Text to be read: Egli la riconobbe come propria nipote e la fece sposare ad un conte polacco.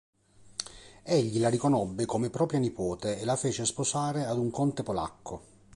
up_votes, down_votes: 2, 0